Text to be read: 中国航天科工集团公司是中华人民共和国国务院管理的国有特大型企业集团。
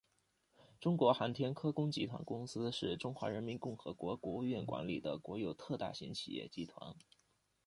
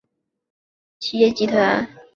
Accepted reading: first